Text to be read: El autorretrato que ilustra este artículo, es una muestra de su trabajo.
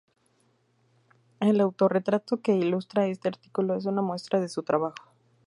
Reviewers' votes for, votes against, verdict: 2, 0, accepted